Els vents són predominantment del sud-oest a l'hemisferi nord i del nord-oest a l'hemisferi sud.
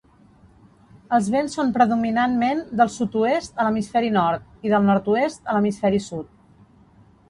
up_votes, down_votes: 2, 0